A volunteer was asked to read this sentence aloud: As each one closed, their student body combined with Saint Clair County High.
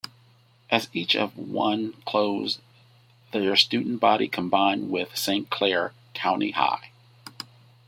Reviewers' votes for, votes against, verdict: 0, 2, rejected